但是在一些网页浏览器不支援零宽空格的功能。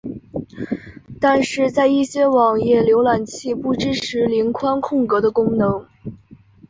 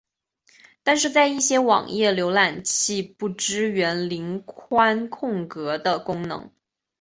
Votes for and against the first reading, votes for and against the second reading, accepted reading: 3, 2, 0, 2, first